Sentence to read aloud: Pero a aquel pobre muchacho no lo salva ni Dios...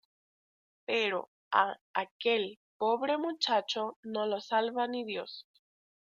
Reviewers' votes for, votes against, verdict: 2, 1, accepted